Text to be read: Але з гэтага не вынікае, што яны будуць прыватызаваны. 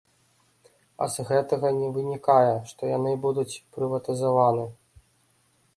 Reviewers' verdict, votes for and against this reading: rejected, 0, 2